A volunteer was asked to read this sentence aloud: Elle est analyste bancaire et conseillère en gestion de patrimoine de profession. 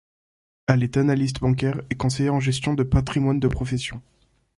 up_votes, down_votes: 2, 0